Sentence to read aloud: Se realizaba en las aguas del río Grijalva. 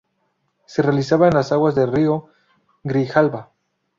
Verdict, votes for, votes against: accepted, 2, 0